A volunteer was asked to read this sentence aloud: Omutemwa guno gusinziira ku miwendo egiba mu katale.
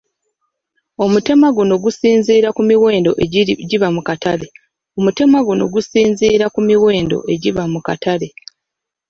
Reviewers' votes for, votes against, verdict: 1, 2, rejected